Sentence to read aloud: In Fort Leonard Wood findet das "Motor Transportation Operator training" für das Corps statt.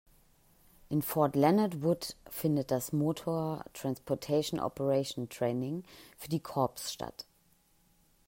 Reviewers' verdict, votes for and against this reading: rejected, 0, 2